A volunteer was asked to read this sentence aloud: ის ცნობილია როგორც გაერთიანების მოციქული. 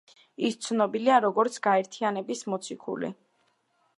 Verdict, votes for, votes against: accepted, 2, 0